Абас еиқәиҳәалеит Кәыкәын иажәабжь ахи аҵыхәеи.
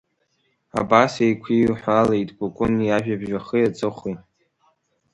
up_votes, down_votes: 2, 0